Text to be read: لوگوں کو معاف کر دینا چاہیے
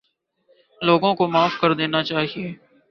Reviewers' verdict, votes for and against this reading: accepted, 2, 0